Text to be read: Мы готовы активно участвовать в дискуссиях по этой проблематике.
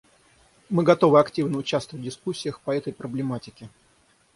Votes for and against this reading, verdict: 6, 0, accepted